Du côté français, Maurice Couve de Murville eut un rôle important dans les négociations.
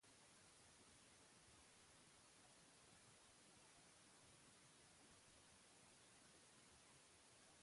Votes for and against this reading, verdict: 0, 2, rejected